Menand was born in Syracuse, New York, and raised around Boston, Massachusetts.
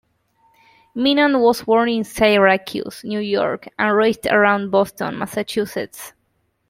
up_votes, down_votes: 2, 0